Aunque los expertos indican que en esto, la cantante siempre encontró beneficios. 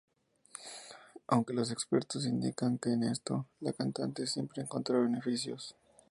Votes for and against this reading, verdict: 0, 2, rejected